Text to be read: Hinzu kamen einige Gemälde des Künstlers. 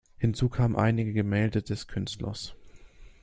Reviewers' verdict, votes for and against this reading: accepted, 2, 0